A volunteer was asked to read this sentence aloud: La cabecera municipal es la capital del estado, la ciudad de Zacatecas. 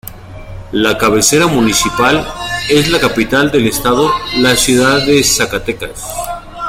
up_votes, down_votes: 2, 0